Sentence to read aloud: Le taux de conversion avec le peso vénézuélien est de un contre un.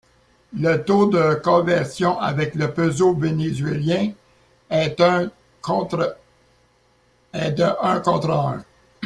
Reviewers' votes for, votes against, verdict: 1, 2, rejected